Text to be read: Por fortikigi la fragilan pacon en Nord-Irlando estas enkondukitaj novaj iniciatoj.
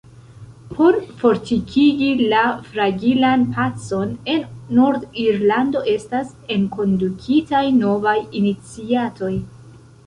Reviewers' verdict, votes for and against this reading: accepted, 2, 0